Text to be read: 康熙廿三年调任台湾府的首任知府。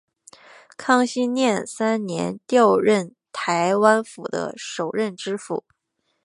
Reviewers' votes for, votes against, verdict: 2, 0, accepted